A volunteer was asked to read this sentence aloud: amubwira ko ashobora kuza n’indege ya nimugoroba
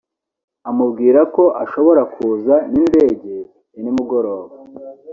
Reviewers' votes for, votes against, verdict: 2, 0, accepted